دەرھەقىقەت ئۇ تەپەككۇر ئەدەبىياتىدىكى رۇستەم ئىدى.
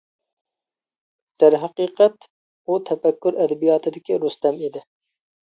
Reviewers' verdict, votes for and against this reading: accepted, 2, 0